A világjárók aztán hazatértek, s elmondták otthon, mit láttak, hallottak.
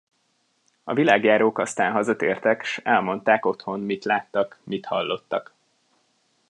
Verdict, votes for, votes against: rejected, 0, 2